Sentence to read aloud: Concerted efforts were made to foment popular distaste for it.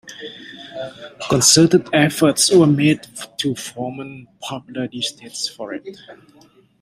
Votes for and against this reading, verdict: 0, 2, rejected